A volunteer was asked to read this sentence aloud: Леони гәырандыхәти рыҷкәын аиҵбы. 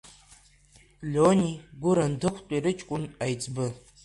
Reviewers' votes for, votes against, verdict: 1, 2, rejected